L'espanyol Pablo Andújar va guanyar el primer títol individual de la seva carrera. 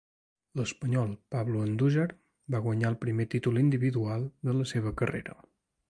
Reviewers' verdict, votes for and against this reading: rejected, 1, 2